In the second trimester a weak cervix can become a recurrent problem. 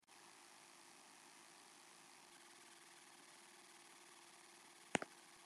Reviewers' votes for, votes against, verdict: 0, 2, rejected